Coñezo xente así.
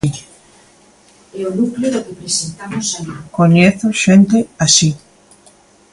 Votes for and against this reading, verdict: 0, 2, rejected